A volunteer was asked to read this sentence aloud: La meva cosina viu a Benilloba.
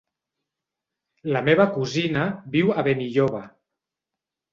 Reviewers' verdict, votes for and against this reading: rejected, 1, 2